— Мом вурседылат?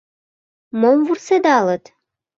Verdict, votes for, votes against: rejected, 0, 2